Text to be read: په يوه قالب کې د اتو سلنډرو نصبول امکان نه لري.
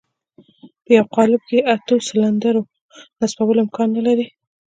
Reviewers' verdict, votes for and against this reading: accepted, 2, 0